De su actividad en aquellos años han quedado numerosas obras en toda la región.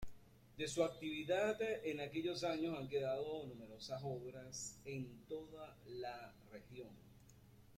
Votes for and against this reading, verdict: 0, 2, rejected